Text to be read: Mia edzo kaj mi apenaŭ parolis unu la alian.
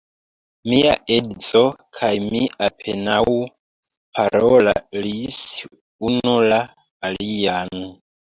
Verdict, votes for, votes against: accepted, 2, 0